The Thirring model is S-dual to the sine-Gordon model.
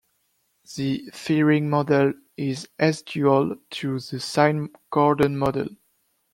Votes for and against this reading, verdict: 2, 1, accepted